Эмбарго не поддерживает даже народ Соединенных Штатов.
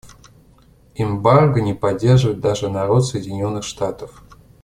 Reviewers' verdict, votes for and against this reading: accepted, 2, 0